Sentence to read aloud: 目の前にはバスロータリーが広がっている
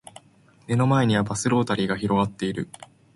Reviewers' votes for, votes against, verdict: 4, 0, accepted